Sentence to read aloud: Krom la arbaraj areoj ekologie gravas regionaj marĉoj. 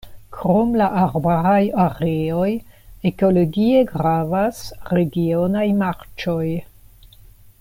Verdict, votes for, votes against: accepted, 2, 1